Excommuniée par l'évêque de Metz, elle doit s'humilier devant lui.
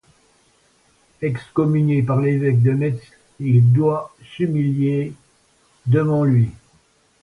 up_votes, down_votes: 1, 2